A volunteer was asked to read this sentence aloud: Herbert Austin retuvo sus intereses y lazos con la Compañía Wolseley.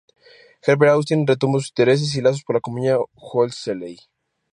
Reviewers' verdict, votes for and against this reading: rejected, 0, 2